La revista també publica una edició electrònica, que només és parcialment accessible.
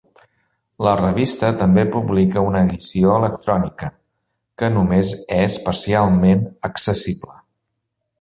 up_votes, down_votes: 2, 0